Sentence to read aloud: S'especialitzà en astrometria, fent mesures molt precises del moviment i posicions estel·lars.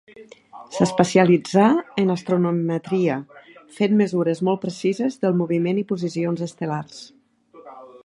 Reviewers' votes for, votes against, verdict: 0, 2, rejected